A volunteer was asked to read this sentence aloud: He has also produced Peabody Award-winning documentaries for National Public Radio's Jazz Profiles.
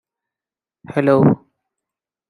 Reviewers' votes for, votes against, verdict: 0, 2, rejected